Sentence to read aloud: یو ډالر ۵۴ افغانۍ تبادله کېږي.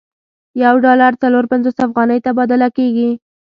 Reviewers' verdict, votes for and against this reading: rejected, 0, 2